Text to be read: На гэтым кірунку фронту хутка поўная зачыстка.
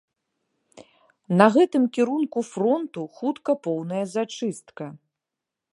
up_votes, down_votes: 2, 0